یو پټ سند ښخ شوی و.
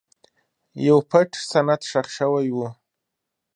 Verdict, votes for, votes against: accepted, 2, 0